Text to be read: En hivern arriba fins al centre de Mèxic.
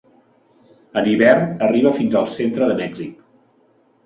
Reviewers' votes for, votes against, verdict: 0, 2, rejected